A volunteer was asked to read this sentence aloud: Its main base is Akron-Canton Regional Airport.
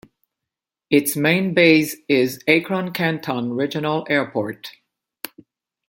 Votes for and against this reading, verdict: 2, 0, accepted